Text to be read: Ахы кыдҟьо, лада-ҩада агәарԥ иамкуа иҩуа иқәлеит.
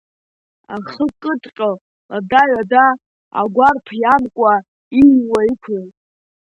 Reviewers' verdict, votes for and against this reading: accepted, 2, 0